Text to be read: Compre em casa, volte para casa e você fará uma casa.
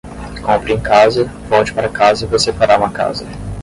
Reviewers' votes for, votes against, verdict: 0, 5, rejected